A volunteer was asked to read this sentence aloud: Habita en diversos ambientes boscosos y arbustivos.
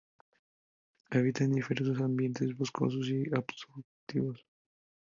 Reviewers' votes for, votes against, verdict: 0, 2, rejected